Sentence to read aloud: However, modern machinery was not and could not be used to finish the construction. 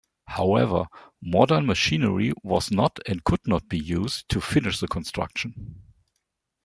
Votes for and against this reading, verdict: 2, 0, accepted